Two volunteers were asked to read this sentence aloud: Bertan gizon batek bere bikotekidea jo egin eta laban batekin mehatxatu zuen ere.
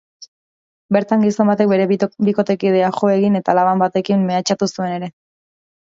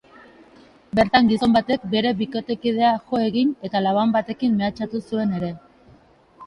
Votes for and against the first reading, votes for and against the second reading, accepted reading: 0, 2, 2, 0, second